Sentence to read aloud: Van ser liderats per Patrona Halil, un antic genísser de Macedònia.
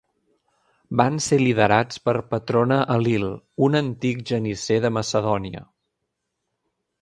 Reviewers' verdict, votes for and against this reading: rejected, 0, 2